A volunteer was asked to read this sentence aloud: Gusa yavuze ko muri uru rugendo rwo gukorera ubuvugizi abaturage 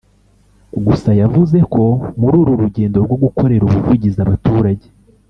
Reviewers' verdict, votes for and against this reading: rejected, 1, 2